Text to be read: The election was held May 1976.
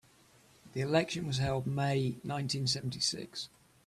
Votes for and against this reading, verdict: 0, 2, rejected